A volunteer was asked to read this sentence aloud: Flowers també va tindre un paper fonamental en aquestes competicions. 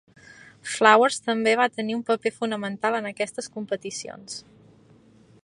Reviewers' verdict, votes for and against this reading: rejected, 0, 2